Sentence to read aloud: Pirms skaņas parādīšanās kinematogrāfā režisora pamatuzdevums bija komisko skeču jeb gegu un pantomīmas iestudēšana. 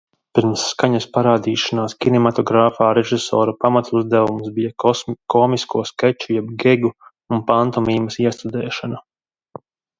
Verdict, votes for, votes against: rejected, 0, 2